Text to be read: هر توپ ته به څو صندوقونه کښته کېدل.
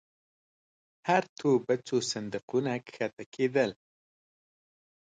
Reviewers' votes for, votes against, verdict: 2, 1, accepted